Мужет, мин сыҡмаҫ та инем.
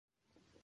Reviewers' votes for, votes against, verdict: 0, 2, rejected